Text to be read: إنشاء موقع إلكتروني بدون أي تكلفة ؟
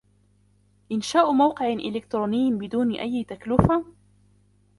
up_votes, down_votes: 0, 2